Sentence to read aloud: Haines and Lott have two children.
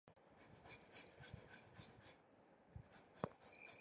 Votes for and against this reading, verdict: 0, 2, rejected